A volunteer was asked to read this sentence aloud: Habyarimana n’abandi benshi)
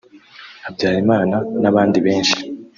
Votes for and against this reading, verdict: 2, 0, accepted